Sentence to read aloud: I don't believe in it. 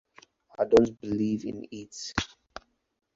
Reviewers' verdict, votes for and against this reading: rejected, 0, 2